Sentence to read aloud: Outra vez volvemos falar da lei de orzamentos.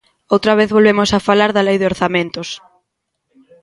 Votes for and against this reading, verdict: 0, 2, rejected